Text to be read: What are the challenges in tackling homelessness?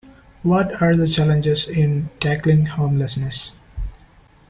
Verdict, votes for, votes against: accepted, 2, 1